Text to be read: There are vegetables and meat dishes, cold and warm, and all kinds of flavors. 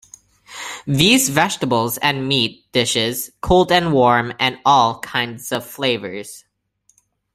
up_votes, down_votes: 0, 2